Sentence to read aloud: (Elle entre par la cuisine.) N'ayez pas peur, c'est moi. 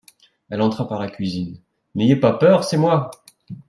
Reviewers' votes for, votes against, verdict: 0, 2, rejected